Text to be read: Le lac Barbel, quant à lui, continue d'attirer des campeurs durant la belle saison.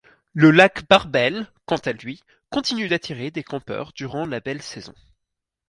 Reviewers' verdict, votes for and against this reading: accepted, 4, 0